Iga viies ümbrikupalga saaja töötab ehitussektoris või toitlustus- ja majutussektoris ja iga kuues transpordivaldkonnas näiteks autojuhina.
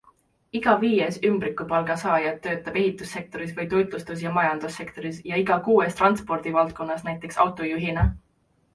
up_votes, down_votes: 2, 1